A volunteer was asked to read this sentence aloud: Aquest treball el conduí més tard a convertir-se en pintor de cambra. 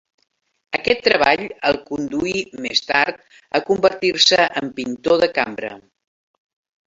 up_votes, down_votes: 3, 1